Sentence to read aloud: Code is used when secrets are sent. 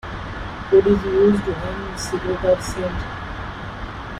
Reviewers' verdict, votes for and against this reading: rejected, 0, 2